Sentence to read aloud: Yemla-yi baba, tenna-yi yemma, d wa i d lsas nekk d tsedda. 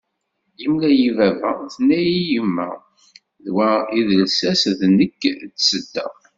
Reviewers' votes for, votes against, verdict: 0, 2, rejected